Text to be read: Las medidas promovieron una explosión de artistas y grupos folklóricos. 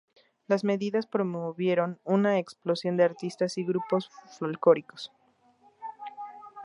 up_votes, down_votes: 0, 2